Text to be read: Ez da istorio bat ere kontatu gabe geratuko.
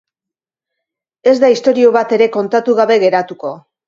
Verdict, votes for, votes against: accepted, 2, 0